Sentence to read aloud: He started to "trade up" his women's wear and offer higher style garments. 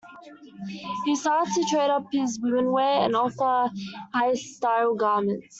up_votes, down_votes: 2, 0